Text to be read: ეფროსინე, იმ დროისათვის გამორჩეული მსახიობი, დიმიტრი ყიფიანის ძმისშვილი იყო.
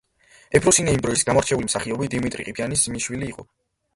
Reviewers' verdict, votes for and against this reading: rejected, 1, 2